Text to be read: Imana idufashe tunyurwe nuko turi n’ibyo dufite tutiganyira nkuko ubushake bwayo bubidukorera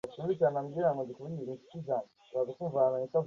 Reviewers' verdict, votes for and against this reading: rejected, 0, 2